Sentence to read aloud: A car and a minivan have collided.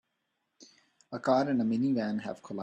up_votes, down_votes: 0, 3